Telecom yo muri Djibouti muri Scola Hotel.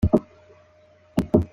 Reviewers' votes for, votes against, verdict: 0, 2, rejected